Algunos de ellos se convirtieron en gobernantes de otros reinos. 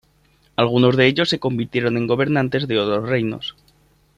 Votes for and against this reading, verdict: 1, 2, rejected